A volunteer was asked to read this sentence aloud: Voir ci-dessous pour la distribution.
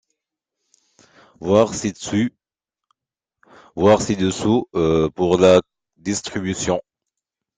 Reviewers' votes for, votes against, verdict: 0, 2, rejected